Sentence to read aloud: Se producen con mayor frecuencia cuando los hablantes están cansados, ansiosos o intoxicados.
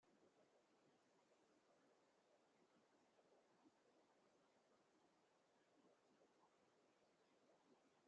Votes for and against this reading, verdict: 1, 2, rejected